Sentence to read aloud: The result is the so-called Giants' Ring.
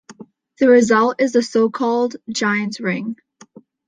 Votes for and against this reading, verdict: 2, 0, accepted